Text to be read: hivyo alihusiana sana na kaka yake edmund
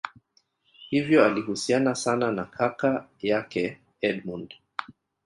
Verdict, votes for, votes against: rejected, 0, 2